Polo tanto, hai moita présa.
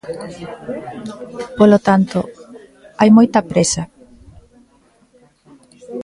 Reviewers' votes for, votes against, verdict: 2, 0, accepted